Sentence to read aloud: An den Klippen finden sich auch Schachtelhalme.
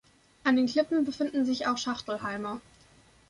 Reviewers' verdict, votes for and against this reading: rejected, 0, 2